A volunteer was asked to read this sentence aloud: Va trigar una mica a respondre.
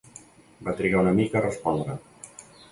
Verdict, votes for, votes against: accepted, 2, 0